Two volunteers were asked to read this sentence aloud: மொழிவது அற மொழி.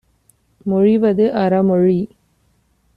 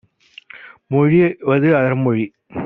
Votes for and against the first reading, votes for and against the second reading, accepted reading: 2, 0, 1, 2, first